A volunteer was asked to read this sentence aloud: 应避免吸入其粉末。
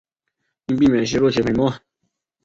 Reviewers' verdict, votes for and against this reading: rejected, 1, 3